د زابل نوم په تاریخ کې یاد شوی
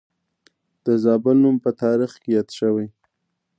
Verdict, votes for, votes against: accepted, 2, 0